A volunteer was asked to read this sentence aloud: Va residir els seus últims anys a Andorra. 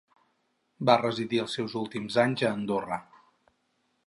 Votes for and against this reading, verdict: 2, 2, rejected